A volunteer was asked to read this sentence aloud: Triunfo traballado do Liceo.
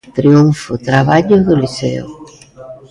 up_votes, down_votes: 0, 2